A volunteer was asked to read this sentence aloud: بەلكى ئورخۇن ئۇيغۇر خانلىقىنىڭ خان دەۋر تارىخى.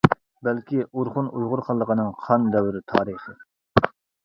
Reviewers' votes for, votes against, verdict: 0, 2, rejected